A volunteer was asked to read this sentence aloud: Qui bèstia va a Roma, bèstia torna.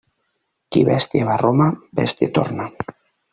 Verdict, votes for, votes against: accepted, 2, 0